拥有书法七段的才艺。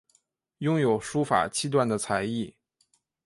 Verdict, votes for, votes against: accepted, 2, 0